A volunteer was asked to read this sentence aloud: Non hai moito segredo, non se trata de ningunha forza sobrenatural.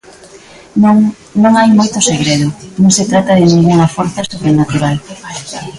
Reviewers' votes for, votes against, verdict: 0, 2, rejected